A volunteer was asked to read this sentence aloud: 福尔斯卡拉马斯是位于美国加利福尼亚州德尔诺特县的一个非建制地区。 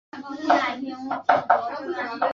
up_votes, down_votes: 1, 2